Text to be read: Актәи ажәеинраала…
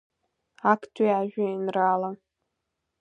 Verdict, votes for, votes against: accepted, 2, 1